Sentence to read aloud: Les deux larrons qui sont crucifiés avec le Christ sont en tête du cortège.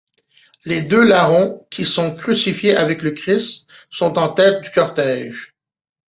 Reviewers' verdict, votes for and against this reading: accepted, 2, 0